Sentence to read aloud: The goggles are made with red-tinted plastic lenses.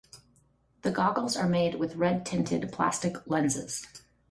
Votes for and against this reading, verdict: 2, 0, accepted